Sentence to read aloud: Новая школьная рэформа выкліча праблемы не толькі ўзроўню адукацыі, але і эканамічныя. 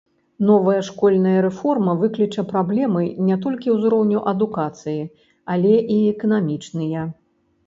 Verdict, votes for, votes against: rejected, 1, 2